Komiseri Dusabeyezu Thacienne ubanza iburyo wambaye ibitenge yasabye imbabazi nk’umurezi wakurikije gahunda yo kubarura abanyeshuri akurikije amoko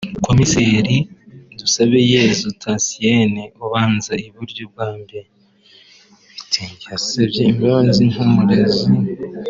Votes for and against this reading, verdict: 0, 3, rejected